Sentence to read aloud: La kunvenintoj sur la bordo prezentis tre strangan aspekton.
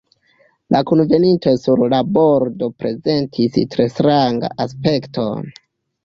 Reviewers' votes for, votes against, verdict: 0, 2, rejected